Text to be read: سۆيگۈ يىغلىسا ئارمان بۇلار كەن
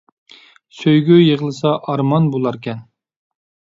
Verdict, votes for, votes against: accepted, 2, 0